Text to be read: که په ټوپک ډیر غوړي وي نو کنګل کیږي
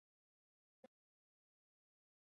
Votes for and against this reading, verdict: 2, 1, accepted